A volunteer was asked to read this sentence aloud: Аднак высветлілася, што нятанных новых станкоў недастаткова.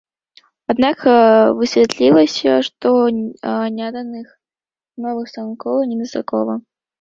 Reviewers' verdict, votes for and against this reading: rejected, 0, 2